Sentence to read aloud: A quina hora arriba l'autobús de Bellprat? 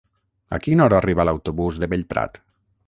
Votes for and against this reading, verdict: 6, 0, accepted